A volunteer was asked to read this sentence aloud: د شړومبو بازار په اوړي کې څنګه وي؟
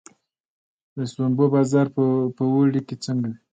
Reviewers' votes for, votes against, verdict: 2, 1, accepted